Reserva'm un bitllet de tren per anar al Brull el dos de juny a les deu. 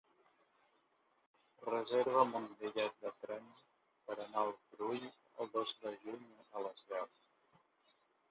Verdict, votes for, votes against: rejected, 0, 2